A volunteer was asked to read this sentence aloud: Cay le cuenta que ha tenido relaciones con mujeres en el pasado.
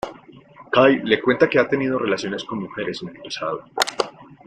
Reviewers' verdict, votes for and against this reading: accepted, 2, 1